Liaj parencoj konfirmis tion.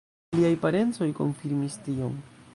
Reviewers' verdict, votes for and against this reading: rejected, 1, 2